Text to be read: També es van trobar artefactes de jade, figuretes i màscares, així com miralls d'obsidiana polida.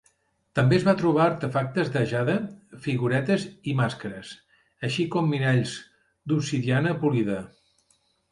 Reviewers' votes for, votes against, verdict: 0, 2, rejected